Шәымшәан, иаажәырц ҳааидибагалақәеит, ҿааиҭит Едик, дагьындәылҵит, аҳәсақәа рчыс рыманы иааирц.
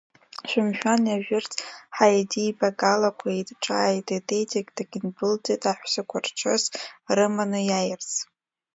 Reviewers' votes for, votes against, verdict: 0, 2, rejected